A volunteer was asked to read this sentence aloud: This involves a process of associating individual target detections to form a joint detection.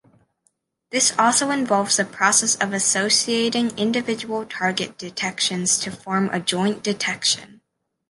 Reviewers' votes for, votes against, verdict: 1, 2, rejected